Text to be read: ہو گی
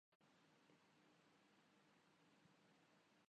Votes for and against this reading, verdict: 0, 2, rejected